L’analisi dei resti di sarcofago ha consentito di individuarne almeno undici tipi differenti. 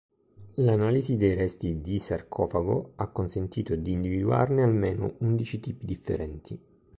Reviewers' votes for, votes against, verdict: 3, 0, accepted